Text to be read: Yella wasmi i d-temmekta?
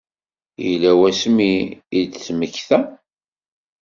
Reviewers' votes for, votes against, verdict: 2, 0, accepted